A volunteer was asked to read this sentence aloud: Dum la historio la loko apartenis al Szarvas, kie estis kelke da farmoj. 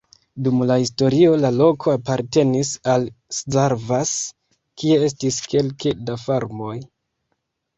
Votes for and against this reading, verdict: 0, 2, rejected